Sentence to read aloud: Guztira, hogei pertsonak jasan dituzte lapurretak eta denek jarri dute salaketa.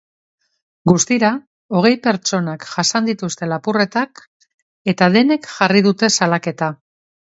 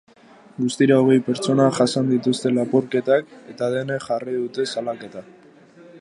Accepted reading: first